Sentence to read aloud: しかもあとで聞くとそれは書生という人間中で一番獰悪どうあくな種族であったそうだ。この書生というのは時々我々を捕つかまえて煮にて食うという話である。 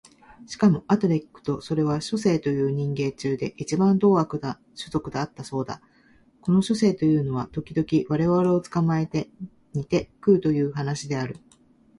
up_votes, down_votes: 2, 1